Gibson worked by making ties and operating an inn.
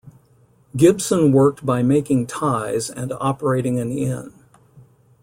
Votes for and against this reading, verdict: 2, 0, accepted